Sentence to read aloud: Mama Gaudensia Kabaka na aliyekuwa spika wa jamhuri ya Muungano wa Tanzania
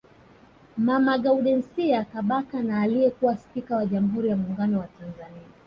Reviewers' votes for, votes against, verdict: 0, 2, rejected